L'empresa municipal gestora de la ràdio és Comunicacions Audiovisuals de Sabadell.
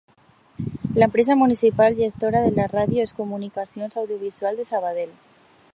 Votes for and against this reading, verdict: 2, 0, accepted